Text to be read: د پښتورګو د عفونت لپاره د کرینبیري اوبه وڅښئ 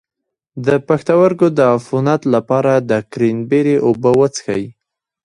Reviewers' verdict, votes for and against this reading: rejected, 1, 2